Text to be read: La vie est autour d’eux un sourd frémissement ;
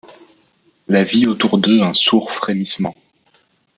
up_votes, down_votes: 1, 2